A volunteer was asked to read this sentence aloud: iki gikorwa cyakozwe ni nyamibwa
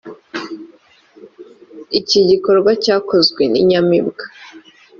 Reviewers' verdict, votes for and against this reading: accepted, 3, 0